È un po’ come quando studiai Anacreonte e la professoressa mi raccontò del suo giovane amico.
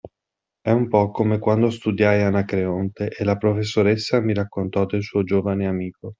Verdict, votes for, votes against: accepted, 2, 0